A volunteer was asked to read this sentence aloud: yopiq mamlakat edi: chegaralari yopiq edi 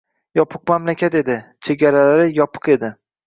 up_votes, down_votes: 1, 2